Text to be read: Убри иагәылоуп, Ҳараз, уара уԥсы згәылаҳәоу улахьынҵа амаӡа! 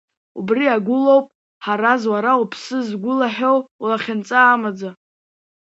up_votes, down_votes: 0, 3